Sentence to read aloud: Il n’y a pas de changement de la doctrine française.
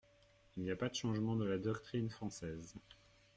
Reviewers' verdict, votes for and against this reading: accepted, 2, 0